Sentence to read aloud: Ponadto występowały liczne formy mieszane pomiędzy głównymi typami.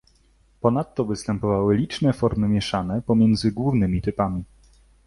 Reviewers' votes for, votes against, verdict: 2, 0, accepted